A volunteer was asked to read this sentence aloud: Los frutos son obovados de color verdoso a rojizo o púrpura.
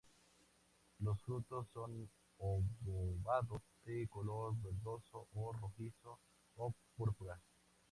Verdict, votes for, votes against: rejected, 0, 2